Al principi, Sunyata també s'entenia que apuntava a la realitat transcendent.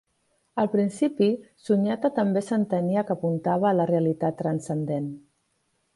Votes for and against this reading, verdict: 3, 0, accepted